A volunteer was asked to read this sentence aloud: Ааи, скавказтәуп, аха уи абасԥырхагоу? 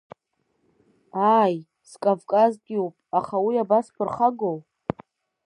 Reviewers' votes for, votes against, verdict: 2, 1, accepted